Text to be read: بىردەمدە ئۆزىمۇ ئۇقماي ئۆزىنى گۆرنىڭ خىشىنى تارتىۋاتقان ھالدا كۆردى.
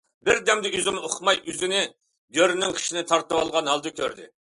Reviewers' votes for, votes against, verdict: 0, 2, rejected